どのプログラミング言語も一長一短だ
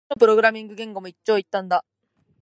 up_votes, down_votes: 2, 1